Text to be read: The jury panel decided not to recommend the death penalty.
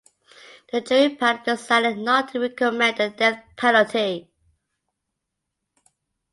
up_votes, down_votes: 0, 2